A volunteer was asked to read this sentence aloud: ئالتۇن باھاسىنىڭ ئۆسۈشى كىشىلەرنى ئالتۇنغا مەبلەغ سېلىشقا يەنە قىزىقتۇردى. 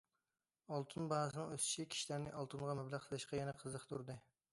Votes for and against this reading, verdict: 2, 0, accepted